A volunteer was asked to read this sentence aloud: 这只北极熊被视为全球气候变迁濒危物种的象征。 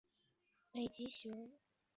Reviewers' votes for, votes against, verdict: 6, 3, accepted